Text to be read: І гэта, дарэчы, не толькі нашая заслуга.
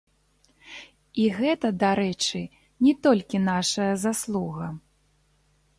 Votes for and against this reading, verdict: 0, 2, rejected